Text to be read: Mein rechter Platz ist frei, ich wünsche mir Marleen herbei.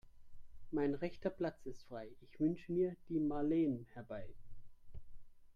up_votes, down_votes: 0, 3